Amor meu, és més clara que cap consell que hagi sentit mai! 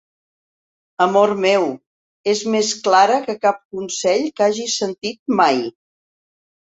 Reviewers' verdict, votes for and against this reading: accepted, 3, 0